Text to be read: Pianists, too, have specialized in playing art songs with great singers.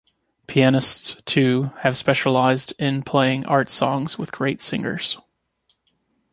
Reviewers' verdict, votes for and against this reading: accepted, 2, 0